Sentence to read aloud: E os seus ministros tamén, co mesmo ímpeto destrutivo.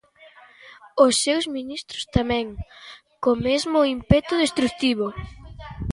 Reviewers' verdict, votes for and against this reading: rejected, 1, 2